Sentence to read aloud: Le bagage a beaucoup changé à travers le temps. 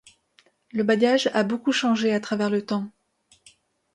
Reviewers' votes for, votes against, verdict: 2, 0, accepted